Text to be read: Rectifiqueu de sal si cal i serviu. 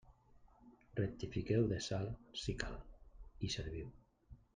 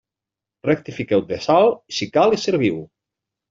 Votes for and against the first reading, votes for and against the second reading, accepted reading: 0, 2, 2, 0, second